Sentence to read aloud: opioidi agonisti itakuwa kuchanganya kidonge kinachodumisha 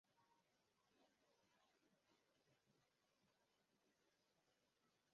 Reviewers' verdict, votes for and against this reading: rejected, 0, 2